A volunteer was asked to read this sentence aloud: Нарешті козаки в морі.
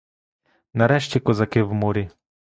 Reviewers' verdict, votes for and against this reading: accepted, 2, 0